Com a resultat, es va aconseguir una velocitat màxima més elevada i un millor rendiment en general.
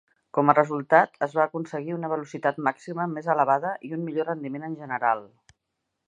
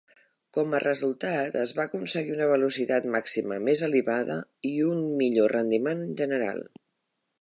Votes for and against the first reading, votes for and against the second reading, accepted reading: 3, 0, 1, 2, first